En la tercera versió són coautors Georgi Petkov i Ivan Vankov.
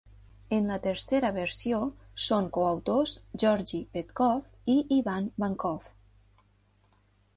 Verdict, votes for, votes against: accepted, 2, 0